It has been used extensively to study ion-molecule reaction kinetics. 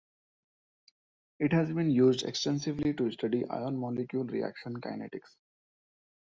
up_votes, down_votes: 0, 2